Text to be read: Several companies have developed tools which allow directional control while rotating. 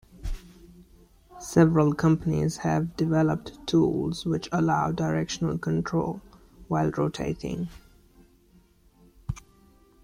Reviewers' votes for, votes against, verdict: 2, 0, accepted